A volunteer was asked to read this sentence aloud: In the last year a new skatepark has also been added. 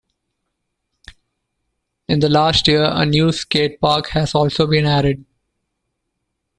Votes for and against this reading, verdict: 2, 0, accepted